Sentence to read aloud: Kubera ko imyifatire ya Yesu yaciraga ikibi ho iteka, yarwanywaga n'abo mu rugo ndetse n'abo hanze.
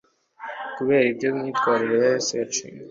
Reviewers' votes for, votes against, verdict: 1, 2, rejected